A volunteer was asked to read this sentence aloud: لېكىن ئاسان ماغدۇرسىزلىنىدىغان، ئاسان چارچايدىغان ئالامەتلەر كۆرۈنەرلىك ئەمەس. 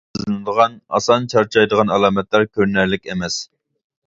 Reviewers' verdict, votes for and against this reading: rejected, 0, 2